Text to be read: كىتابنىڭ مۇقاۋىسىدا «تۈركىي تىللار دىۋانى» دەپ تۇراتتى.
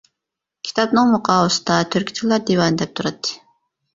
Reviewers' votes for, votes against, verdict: 1, 2, rejected